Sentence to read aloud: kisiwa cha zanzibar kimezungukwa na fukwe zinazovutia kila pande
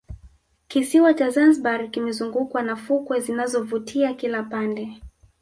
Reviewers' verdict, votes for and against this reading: rejected, 1, 2